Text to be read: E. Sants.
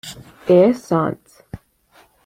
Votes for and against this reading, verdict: 2, 0, accepted